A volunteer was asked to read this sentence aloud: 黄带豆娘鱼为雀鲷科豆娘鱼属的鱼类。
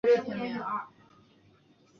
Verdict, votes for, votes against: rejected, 0, 2